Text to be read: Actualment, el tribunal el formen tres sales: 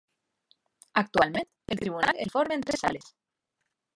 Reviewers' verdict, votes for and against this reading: rejected, 0, 2